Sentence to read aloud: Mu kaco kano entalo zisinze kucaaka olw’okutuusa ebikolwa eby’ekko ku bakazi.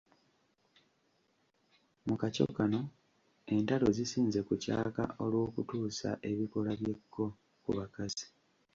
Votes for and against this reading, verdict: 0, 2, rejected